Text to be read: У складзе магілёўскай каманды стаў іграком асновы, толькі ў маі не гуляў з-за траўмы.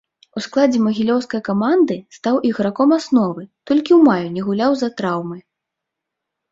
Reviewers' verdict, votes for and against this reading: accepted, 2, 0